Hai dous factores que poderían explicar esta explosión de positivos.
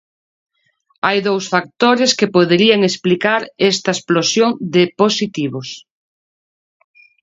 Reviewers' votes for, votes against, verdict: 2, 0, accepted